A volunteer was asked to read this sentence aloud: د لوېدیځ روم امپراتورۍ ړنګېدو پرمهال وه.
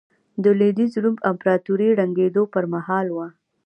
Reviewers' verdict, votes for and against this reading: accepted, 2, 0